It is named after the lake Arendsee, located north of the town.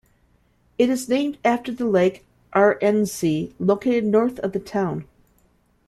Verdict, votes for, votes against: accepted, 2, 0